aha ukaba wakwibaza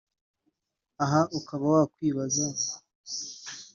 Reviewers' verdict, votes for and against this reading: accepted, 2, 0